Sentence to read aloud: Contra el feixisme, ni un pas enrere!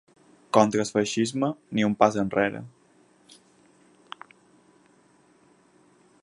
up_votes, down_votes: 4, 0